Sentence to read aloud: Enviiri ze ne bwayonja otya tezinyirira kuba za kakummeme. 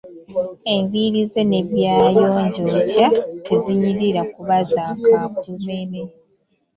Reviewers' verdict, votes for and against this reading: rejected, 1, 2